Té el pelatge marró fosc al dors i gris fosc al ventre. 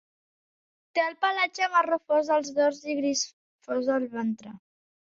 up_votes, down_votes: 2, 1